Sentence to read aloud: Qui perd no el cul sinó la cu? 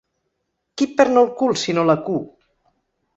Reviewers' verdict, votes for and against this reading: accepted, 3, 0